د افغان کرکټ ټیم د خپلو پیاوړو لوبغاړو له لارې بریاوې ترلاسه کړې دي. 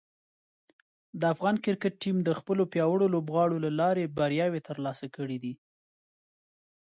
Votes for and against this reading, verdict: 2, 0, accepted